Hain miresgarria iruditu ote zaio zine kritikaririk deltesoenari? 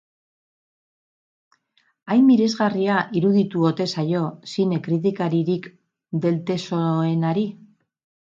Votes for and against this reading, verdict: 2, 2, rejected